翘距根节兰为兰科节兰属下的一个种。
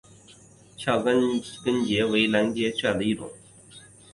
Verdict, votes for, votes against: rejected, 0, 4